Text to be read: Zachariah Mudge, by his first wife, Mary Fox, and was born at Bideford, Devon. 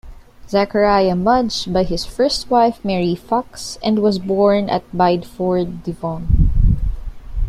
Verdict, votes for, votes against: rejected, 1, 2